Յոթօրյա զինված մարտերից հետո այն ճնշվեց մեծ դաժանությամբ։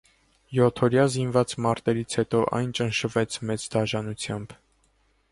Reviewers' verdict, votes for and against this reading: accepted, 2, 0